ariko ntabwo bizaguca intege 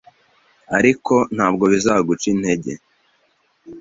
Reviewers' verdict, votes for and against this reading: accepted, 2, 0